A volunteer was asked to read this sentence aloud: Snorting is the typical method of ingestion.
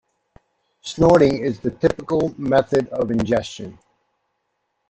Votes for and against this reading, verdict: 2, 0, accepted